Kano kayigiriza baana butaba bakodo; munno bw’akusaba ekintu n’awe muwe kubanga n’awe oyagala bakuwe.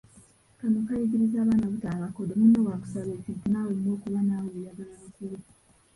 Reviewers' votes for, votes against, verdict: 0, 2, rejected